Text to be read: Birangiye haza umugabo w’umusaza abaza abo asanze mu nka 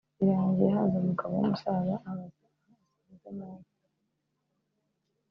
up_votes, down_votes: 2, 3